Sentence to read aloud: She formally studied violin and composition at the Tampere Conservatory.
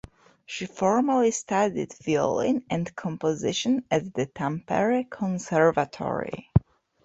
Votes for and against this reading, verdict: 2, 1, accepted